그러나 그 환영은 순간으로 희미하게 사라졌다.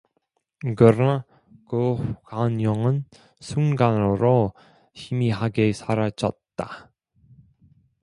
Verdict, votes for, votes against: rejected, 1, 2